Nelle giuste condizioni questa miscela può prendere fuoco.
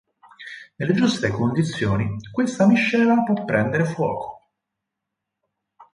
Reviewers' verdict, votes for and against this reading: accepted, 4, 0